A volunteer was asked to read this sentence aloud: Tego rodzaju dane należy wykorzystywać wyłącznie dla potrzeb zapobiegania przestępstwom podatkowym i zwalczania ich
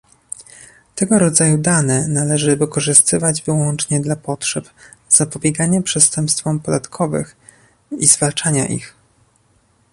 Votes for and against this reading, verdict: 1, 2, rejected